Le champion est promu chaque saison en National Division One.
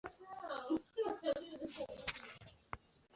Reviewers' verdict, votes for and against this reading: rejected, 1, 2